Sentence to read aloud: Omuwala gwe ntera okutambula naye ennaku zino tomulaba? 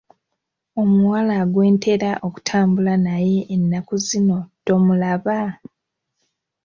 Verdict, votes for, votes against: rejected, 1, 2